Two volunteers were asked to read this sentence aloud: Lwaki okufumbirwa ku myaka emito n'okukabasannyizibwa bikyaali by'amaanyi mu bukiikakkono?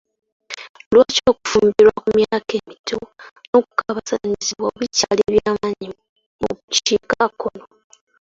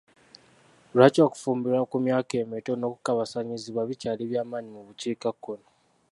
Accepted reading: second